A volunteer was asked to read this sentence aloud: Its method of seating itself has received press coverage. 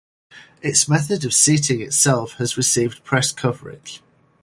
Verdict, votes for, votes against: accepted, 4, 0